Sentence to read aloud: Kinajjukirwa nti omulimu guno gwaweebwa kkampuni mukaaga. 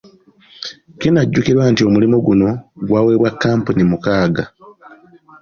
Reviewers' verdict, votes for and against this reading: accepted, 2, 0